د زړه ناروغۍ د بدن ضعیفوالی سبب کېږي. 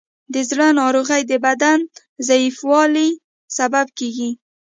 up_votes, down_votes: 2, 0